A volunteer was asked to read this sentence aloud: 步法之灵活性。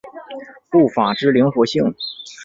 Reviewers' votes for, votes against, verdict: 2, 0, accepted